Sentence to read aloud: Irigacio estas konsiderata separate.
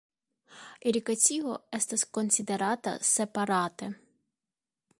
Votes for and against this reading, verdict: 2, 1, accepted